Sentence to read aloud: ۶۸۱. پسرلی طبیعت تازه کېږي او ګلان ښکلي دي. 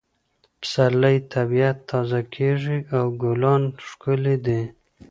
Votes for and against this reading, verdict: 0, 2, rejected